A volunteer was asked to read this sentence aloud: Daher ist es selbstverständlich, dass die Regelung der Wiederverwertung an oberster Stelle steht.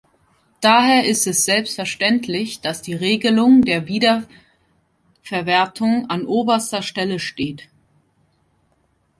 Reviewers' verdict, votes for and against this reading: rejected, 1, 2